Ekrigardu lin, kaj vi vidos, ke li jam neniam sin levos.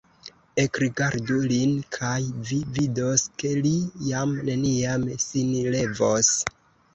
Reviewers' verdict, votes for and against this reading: rejected, 1, 2